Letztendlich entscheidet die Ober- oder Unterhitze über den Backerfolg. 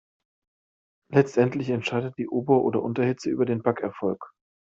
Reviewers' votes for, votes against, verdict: 2, 0, accepted